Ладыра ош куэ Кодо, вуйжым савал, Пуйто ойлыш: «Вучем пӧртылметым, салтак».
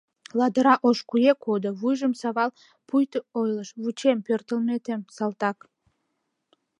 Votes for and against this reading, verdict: 1, 2, rejected